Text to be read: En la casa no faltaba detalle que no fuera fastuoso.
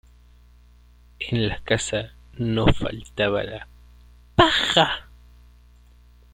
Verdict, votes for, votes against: rejected, 0, 2